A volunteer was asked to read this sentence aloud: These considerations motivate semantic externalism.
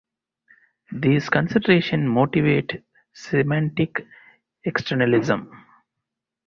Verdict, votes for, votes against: rejected, 0, 2